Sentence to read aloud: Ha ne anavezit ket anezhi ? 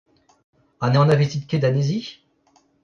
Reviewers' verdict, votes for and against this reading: rejected, 0, 2